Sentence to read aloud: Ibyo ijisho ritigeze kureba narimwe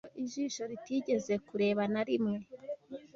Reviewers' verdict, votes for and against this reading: rejected, 1, 2